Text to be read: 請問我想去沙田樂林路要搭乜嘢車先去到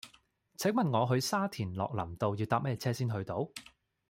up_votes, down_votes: 0, 2